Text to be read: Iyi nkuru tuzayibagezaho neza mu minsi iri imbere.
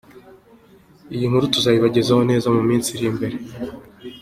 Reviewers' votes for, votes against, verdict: 2, 0, accepted